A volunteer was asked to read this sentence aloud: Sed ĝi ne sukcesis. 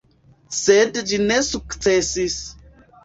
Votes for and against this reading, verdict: 2, 3, rejected